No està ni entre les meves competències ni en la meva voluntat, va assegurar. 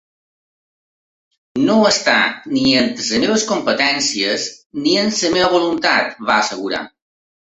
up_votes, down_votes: 0, 2